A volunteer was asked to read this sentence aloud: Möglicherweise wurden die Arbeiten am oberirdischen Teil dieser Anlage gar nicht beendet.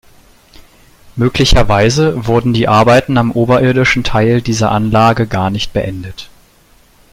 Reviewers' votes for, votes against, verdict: 2, 0, accepted